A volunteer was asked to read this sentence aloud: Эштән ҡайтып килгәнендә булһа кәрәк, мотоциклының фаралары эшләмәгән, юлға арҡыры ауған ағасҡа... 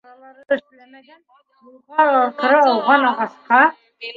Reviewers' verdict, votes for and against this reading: rejected, 1, 3